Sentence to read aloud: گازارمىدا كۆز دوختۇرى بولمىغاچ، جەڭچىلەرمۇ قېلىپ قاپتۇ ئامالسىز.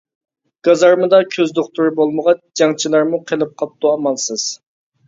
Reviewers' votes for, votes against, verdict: 2, 0, accepted